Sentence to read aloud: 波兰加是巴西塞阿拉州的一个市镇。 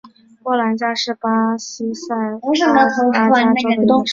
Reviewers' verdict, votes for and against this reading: rejected, 1, 3